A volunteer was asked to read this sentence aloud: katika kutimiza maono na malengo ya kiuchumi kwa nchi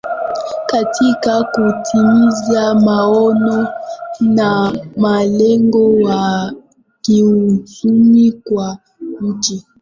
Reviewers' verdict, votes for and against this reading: rejected, 0, 2